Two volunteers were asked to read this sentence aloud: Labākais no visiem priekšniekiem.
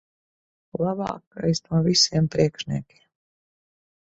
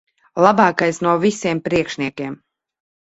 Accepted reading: second